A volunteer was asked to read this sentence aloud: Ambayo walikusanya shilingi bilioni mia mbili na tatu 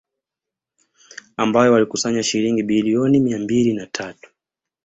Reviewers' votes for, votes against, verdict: 2, 0, accepted